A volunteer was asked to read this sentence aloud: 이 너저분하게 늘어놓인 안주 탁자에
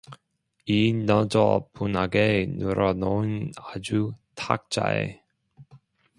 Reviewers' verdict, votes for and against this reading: rejected, 1, 2